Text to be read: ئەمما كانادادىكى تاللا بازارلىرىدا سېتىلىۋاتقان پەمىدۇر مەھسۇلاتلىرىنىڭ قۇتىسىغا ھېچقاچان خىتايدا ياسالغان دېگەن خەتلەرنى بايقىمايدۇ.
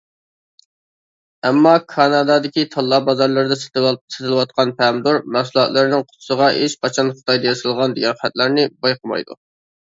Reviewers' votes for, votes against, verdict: 0, 2, rejected